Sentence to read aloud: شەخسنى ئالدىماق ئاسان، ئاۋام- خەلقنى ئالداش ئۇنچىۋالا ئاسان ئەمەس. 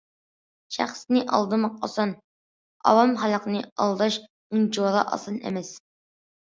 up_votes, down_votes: 2, 0